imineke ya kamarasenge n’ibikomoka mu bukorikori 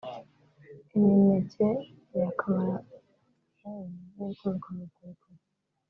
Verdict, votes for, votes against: rejected, 0, 2